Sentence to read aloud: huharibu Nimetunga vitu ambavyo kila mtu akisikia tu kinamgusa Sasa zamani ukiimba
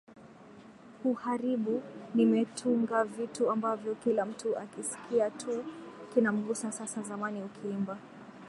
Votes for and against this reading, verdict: 2, 0, accepted